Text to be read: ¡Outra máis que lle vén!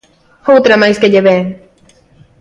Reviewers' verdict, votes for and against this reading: accepted, 2, 0